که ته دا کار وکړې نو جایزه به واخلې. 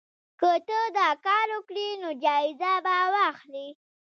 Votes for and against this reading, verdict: 0, 2, rejected